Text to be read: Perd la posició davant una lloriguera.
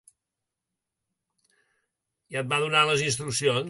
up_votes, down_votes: 0, 2